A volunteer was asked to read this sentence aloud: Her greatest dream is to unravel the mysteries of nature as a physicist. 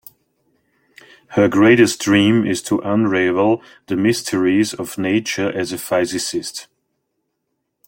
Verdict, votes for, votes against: rejected, 0, 2